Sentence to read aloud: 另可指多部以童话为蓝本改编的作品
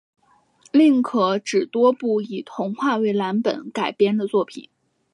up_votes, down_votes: 6, 0